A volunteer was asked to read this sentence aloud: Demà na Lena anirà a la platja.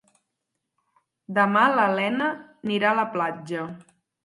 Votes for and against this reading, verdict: 2, 4, rejected